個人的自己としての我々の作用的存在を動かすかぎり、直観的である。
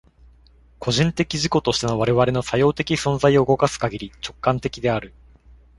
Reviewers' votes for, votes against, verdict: 2, 0, accepted